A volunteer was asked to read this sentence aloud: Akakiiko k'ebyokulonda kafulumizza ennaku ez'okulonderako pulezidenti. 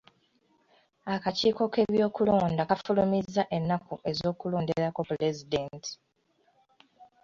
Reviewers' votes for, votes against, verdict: 2, 0, accepted